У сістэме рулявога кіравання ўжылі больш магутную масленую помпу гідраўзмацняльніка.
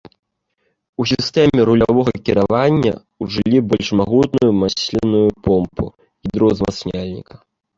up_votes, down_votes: 2, 1